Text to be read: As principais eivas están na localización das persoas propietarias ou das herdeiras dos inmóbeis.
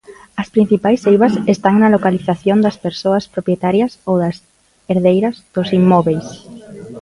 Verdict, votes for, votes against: accepted, 2, 0